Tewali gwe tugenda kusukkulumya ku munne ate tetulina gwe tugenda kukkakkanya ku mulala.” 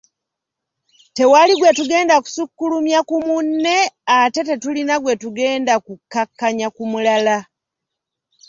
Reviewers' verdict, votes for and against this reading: accepted, 2, 0